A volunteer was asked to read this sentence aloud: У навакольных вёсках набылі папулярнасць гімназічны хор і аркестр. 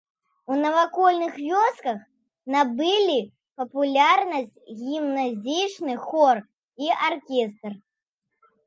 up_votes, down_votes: 2, 0